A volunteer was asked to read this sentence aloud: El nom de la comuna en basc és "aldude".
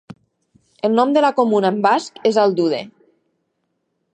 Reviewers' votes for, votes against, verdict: 3, 0, accepted